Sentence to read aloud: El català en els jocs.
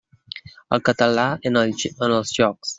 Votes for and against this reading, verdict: 0, 3, rejected